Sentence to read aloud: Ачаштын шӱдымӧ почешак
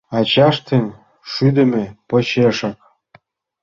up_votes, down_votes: 1, 3